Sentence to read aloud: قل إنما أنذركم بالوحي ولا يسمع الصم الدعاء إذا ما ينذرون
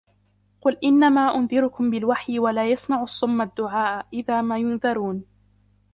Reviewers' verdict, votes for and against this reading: rejected, 1, 2